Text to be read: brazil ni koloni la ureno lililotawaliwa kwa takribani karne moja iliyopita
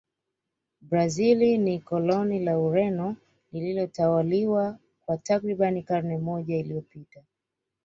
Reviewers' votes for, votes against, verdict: 2, 0, accepted